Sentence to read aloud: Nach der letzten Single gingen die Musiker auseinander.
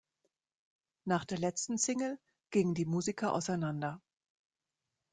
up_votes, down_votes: 2, 0